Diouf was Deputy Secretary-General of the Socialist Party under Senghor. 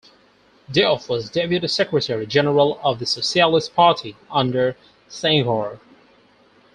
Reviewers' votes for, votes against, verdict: 4, 2, accepted